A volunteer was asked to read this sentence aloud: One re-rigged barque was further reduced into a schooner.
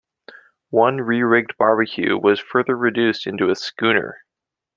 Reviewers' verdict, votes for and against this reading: rejected, 0, 2